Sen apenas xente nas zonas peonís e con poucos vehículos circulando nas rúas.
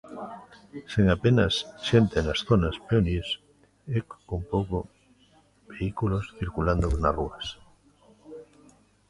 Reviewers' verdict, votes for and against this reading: rejected, 0, 2